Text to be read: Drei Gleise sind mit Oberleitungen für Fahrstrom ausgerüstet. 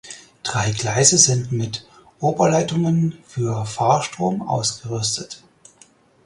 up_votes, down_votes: 4, 0